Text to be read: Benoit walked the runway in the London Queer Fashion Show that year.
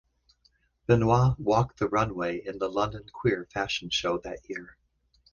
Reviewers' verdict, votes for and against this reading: accepted, 2, 0